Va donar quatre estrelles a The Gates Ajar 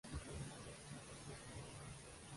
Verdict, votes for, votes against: rejected, 0, 2